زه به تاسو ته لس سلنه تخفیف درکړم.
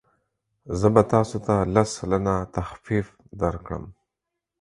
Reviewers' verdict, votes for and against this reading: accepted, 4, 0